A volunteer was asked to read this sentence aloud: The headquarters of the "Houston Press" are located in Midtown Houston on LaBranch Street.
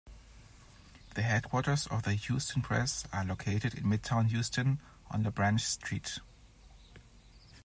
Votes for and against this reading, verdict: 2, 0, accepted